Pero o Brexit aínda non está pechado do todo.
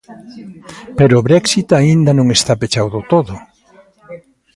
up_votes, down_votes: 1, 2